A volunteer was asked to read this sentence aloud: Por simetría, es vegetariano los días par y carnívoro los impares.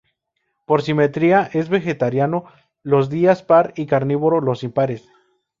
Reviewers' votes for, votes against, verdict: 2, 0, accepted